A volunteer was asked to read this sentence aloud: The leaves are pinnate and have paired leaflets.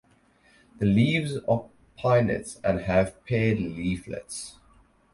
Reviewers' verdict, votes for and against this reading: accepted, 4, 0